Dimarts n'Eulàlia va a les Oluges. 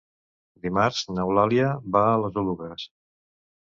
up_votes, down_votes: 0, 2